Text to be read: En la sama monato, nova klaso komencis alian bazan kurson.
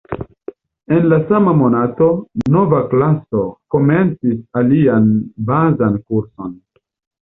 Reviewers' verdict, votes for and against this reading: accepted, 2, 0